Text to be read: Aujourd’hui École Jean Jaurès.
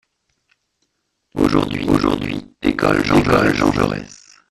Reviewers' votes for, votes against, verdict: 0, 2, rejected